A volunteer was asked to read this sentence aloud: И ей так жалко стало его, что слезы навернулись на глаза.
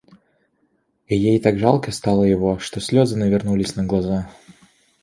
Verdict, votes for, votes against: accepted, 2, 0